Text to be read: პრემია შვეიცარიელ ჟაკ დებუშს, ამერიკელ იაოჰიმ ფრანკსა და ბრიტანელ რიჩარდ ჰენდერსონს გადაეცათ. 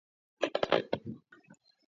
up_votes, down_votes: 0, 2